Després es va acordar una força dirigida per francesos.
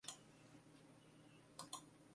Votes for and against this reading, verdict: 0, 2, rejected